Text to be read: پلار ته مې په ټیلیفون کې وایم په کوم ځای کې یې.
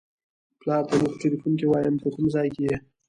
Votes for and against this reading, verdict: 1, 2, rejected